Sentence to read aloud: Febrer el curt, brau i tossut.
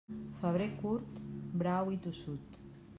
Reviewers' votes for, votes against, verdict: 0, 2, rejected